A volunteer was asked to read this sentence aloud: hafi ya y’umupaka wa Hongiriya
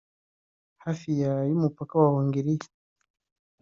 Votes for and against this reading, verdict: 2, 0, accepted